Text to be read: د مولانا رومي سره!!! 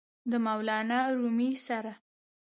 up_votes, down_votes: 2, 0